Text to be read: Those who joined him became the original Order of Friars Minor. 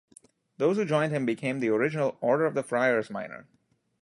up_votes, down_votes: 0, 2